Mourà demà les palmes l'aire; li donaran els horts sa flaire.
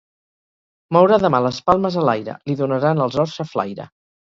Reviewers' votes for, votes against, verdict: 0, 2, rejected